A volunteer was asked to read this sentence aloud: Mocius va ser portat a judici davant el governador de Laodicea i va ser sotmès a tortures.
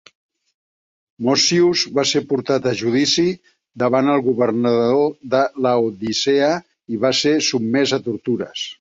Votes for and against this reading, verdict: 1, 2, rejected